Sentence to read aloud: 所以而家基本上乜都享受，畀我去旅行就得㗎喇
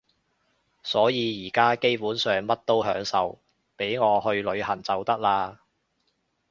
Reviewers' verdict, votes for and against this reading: rejected, 1, 2